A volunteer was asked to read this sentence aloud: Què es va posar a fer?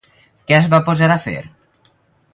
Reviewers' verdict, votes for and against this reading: rejected, 2, 2